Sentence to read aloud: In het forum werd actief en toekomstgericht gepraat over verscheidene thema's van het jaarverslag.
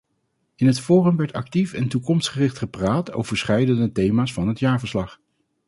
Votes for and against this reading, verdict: 0, 2, rejected